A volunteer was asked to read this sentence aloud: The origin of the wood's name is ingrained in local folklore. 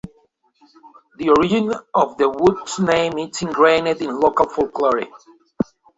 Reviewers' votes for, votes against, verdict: 1, 2, rejected